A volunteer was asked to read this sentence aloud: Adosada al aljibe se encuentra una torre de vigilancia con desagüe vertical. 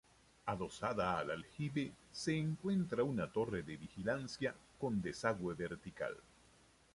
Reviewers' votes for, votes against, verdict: 1, 2, rejected